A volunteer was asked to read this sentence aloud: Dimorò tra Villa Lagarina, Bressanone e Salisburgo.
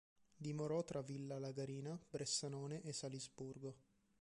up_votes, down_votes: 2, 0